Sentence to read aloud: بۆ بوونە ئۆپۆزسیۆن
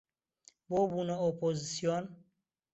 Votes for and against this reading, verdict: 2, 0, accepted